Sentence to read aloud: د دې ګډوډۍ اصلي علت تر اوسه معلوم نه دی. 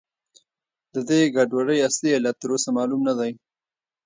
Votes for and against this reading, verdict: 1, 2, rejected